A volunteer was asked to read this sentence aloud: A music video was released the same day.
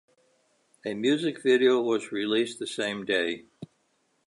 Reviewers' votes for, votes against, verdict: 2, 0, accepted